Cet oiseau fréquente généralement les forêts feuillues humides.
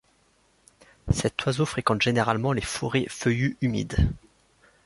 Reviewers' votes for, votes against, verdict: 2, 0, accepted